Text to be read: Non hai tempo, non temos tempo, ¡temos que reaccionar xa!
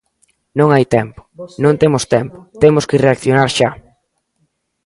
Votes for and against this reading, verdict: 1, 2, rejected